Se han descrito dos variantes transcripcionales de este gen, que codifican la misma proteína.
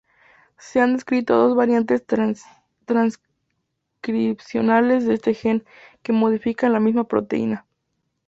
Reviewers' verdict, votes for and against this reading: accepted, 2, 0